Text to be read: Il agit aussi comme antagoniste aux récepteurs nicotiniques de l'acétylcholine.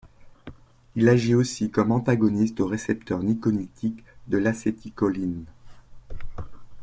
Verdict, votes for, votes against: rejected, 0, 2